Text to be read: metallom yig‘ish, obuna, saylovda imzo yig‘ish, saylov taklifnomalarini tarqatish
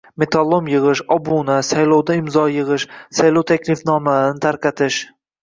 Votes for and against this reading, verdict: 0, 2, rejected